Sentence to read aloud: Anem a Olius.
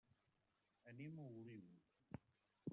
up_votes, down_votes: 0, 2